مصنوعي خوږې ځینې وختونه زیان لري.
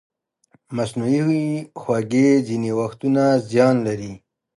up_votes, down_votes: 2, 1